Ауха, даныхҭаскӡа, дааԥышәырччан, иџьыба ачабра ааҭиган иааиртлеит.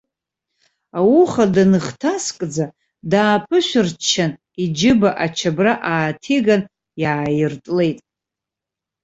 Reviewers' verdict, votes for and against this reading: accepted, 2, 0